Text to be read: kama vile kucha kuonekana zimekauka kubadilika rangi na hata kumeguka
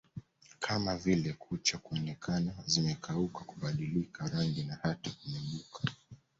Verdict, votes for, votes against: accepted, 2, 1